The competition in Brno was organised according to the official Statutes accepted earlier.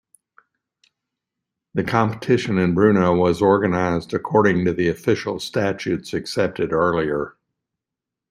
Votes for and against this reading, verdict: 1, 2, rejected